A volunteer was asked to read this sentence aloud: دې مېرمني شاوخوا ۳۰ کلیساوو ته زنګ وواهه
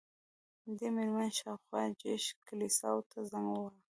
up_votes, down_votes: 0, 2